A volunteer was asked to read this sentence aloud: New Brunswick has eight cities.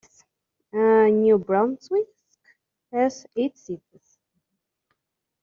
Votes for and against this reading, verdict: 1, 2, rejected